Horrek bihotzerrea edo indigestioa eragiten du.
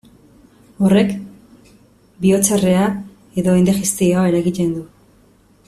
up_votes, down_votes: 1, 2